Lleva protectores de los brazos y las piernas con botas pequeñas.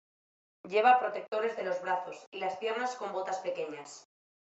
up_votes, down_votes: 2, 0